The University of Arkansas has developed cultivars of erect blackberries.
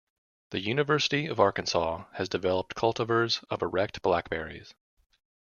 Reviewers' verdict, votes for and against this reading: rejected, 1, 2